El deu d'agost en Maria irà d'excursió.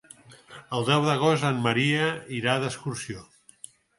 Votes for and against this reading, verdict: 4, 0, accepted